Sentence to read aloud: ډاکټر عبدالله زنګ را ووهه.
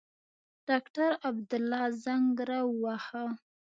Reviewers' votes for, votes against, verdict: 2, 0, accepted